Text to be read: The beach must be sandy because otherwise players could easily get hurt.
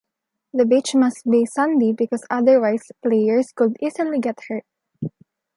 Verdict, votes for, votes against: accepted, 3, 0